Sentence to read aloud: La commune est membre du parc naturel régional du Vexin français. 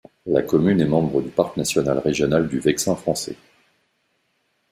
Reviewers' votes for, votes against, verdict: 2, 0, accepted